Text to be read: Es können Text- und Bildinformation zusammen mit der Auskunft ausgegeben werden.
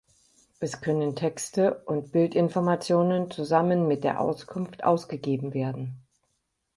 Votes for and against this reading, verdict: 0, 4, rejected